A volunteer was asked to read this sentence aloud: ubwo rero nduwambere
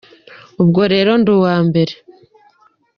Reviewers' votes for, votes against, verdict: 2, 0, accepted